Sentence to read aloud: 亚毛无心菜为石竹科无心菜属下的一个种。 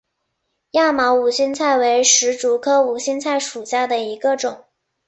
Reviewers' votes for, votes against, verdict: 2, 0, accepted